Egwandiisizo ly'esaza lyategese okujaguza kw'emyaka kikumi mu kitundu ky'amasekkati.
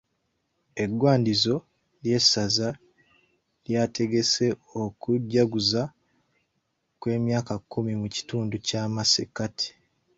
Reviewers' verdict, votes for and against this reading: rejected, 1, 2